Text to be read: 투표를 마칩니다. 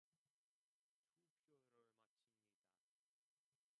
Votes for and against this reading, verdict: 0, 2, rejected